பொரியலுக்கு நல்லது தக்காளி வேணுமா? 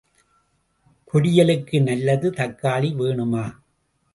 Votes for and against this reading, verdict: 1, 2, rejected